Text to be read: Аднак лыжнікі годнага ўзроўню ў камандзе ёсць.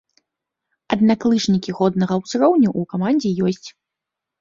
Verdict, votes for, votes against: accepted, 2, 0